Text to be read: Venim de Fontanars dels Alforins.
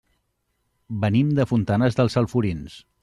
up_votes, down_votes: 2, 0